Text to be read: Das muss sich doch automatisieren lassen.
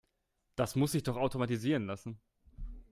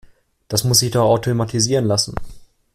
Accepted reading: first